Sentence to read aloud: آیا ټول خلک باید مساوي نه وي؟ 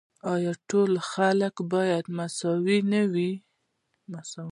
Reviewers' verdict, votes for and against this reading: rejected, 1, 2